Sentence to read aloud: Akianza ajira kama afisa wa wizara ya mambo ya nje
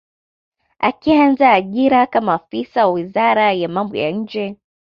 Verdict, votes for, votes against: accepted, 2, 0